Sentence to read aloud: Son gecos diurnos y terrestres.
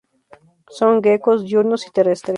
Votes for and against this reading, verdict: 0, 2, rejected